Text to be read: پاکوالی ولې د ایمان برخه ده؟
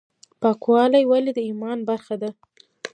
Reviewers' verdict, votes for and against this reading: rejected, 0, 2